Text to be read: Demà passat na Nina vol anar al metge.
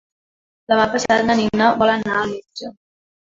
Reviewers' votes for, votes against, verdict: 3, 1, accepted